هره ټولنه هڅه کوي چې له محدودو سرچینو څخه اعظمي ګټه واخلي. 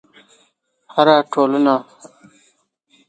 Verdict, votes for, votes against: rejected, 1, 2